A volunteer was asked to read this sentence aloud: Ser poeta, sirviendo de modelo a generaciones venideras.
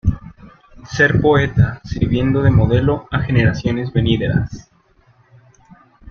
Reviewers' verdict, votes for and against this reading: accepted, 2, 1